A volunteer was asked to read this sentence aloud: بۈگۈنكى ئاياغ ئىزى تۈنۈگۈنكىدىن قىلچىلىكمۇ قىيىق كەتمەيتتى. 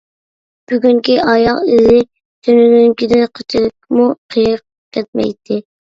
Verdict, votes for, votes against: rejected, 0, 2